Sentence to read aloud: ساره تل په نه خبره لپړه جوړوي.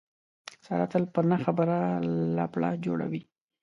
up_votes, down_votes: 2, 0